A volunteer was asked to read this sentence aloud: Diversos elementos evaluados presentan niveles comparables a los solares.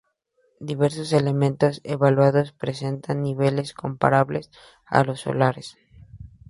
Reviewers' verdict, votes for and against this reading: accepted, 2, 0